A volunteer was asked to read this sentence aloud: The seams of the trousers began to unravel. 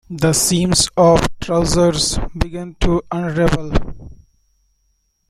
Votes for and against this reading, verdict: 1, 2, rejected